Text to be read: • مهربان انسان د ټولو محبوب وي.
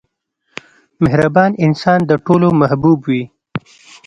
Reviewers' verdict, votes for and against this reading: accepted, 2, 0